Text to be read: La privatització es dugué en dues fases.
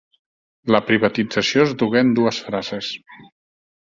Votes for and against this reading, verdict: 0, 2, rejected